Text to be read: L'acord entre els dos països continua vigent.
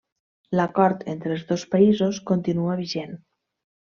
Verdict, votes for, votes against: accepted, 3, 0